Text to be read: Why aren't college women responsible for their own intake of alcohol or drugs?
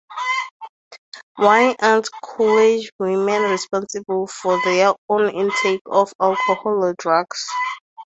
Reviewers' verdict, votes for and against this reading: rejected, 0, 2